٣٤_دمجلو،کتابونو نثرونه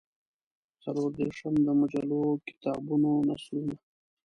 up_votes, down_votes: 0, 2